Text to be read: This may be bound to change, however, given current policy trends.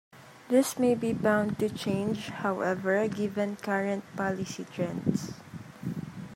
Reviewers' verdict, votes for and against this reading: accepted, 2, 1